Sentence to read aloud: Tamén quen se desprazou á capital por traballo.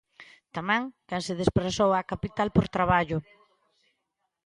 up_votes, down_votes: 2, 0